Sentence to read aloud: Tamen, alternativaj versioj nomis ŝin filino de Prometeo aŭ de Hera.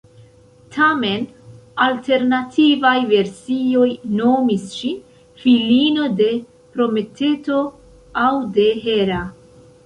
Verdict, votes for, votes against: rejected, 1, 2